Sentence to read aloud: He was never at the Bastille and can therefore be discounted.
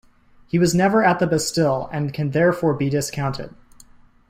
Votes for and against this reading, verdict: 2, 0, accepted